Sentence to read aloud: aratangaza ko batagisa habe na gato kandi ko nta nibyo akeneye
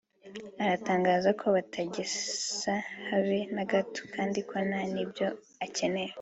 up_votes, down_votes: 4, 0